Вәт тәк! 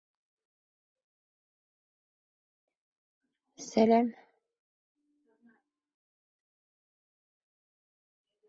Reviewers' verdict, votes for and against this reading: rejected, 0, 2